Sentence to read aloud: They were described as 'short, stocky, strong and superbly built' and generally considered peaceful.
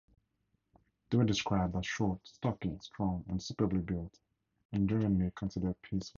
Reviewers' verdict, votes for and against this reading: rejected, 0, 2